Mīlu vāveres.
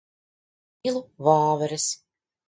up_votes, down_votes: 1, 2